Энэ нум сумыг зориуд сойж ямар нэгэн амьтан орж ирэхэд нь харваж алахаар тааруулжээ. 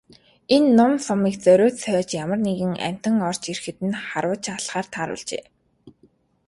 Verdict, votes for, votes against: accepted, 2, 0